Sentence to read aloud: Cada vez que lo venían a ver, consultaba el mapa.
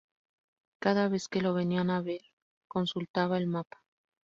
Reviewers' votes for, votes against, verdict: 2, 0, accepted